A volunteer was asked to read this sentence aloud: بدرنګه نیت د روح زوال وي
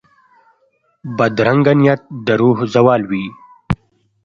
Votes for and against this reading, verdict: 2, 0, accepted